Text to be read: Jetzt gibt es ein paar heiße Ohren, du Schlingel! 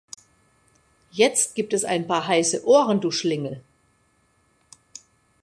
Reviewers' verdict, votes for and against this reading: accepted, 2, 0